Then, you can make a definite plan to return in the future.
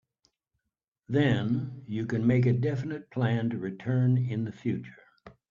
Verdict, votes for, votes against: accepted, 4, 0